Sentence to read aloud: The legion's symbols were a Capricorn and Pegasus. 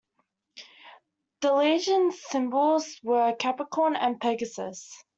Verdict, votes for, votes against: accepted, 2, 0